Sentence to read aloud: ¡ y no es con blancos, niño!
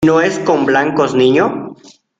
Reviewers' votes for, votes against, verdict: 0, 2, rejected